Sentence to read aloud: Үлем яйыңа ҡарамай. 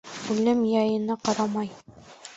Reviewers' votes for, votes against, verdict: 1, 2, rejected